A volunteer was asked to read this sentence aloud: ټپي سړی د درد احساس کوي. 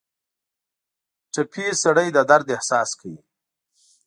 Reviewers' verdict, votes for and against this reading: accepted, 2, 0